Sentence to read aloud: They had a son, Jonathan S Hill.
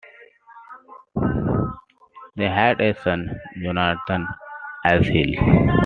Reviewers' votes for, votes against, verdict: 2, 0, accepted